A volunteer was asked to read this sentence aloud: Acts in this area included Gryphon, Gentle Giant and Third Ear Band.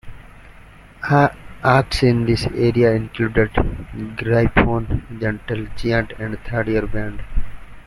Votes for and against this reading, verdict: 1, 2, rejected